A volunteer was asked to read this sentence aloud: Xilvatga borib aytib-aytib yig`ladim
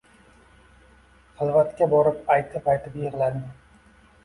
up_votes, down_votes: 2, 0